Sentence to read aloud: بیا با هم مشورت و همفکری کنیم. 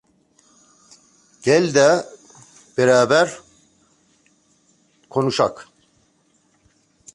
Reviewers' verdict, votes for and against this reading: rejected, 0, 3